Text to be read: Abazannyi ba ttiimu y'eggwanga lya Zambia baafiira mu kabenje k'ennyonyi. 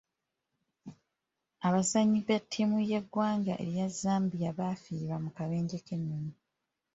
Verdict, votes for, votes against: rejected, 2, 3